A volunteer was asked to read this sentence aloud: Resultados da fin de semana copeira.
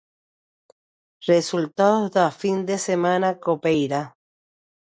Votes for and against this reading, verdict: 0, 2, rejected